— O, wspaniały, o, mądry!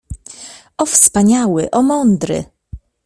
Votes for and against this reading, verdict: 2, 0, accepted